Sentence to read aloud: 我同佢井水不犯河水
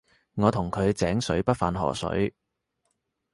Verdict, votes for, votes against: accepted, 2, 0